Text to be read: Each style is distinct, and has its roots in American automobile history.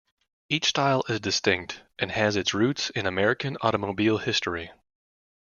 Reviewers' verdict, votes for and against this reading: accepted, 2, 0